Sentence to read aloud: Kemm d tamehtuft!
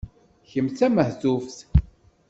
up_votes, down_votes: 2, 0